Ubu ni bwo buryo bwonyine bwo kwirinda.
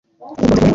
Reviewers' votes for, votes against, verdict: 1, 2, rejected